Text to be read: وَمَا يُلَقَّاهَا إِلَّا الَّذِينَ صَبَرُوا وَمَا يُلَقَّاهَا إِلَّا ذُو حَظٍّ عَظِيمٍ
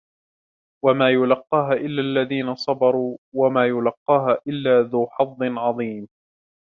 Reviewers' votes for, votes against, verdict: 2, 0, accepted